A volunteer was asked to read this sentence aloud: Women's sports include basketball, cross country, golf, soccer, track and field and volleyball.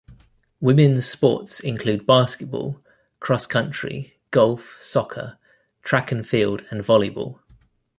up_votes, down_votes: 2, 0